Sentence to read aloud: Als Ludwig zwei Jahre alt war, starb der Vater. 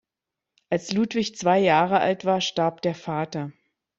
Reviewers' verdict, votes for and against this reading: accepted, 2, 0